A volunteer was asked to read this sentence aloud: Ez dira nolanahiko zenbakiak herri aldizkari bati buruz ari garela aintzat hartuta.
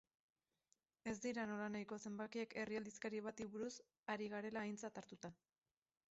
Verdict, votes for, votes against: rejected, 0, 2